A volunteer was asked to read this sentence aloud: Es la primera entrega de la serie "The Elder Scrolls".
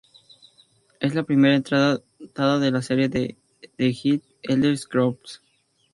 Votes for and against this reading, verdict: 2, 2, rejected